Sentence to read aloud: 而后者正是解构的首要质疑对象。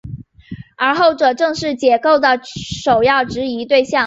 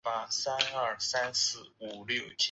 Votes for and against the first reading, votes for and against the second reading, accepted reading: 3, 1, 0, 3, first